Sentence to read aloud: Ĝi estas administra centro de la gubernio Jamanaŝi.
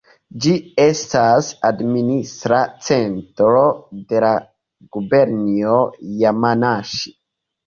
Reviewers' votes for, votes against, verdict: 2, 3, rejected